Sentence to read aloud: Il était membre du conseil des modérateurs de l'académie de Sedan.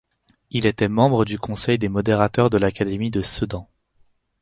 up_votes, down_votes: 4, 0